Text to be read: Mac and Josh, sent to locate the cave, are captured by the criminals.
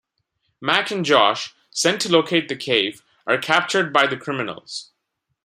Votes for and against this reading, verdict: 2, 0, accepted